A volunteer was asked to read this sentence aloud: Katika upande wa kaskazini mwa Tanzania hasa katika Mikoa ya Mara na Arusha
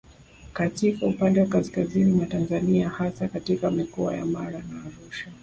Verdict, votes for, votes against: accepted, 2, 1